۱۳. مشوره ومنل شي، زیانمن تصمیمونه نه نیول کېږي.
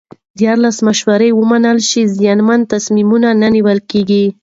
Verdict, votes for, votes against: rejected, 0, 2